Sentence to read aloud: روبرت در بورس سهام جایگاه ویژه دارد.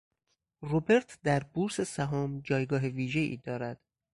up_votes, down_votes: 2, 4